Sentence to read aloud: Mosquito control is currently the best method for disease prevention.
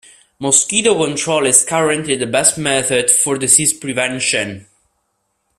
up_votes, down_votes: 2, 0